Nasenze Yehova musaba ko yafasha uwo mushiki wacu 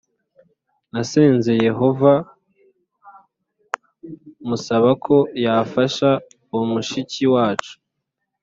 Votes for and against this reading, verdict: 2, 0, accepted